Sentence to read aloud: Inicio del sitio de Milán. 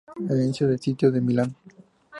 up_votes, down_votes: 2, 0